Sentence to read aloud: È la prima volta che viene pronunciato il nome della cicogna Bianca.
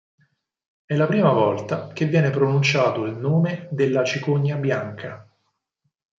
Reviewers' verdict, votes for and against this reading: accepted, 4, 0